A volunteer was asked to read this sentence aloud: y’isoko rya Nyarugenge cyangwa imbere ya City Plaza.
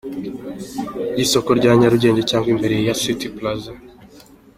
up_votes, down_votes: 2, 0